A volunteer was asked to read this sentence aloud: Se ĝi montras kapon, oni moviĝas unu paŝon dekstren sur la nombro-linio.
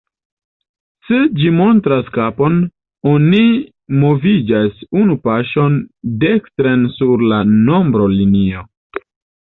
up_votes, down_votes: 0, 2